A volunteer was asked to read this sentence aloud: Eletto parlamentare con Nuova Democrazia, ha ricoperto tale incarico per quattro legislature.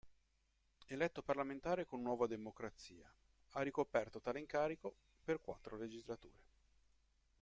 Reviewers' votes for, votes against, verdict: 0, 2, rejected